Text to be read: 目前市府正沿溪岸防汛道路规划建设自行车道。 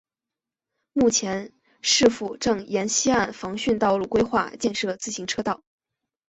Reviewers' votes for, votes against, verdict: 2, 0, accepted